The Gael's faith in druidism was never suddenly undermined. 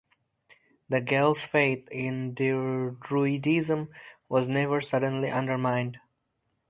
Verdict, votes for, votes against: rejected, 2, 2